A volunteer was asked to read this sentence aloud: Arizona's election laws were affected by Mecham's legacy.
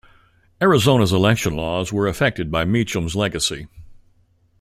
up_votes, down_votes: 2, 0